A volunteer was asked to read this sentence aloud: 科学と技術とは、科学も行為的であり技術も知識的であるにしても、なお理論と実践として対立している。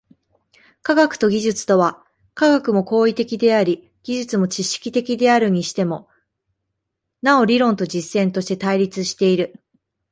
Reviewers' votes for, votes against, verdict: 0, 2, rejected